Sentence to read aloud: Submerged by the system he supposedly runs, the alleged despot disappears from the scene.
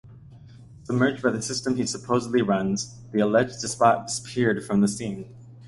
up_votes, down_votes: 1, 2